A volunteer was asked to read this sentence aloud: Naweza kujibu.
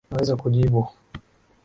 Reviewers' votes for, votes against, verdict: 15, 1, accepted